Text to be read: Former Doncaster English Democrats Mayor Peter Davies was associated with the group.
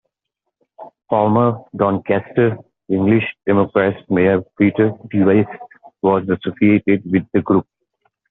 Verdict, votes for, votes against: rejected, 0, 2